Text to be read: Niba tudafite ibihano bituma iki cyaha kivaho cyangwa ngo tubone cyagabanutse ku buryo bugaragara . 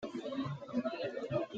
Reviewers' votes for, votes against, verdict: 0, 3, rejected